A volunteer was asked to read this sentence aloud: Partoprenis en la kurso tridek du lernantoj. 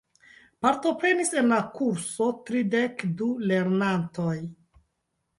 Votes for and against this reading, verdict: 2, 0, accepted